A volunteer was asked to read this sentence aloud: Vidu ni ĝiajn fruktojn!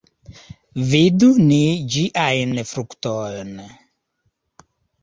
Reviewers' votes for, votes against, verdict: 2, 1, accepted